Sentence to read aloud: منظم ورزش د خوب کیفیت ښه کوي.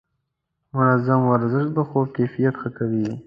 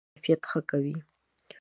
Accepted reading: first